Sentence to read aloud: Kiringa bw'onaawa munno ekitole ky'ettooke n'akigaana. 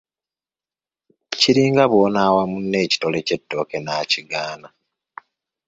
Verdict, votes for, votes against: accepted, 2, 1